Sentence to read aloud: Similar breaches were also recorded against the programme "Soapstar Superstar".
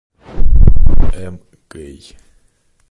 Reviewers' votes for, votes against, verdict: 0, 2, rejected